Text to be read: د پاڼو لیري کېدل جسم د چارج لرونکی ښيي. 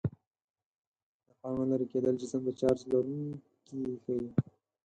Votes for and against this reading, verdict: 2, 4, rejected